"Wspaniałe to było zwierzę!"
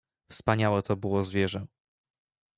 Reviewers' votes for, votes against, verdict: 1, 2, rejected